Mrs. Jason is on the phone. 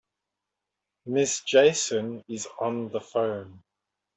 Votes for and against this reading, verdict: 0, 2, rejected